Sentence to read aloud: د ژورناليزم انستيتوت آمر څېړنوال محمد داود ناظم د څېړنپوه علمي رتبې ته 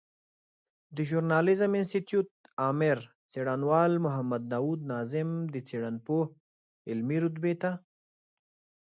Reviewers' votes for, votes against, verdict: 2, 0, accepted